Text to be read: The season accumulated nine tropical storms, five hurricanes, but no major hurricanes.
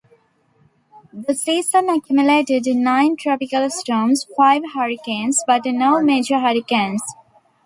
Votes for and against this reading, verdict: 2, 0, accepted